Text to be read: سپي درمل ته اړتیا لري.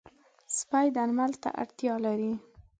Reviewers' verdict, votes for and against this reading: rejected, 1, 2